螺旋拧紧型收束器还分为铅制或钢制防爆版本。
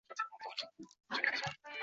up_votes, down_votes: 0, 3